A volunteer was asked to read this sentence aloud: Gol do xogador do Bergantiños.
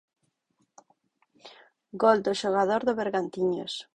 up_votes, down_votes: 6, 0